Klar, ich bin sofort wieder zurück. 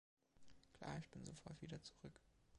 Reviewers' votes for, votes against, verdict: 2, 0, accepted